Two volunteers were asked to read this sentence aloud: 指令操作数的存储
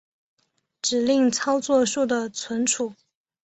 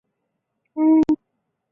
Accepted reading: first